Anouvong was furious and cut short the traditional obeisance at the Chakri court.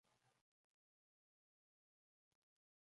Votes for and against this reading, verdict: 0, 2, rejected